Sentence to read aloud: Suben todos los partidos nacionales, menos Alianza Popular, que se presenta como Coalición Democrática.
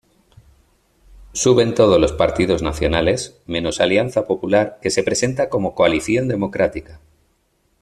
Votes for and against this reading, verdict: 2, 0, accepted